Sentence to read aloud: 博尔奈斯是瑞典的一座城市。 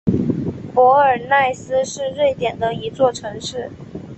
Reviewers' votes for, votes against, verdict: 3, 0, accepted